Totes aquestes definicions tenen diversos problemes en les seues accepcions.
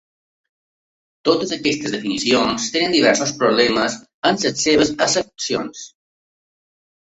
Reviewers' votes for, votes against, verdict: 2, 0, accepted